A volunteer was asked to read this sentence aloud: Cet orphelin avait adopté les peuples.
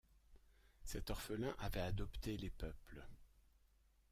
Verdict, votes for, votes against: accepted, 2, 0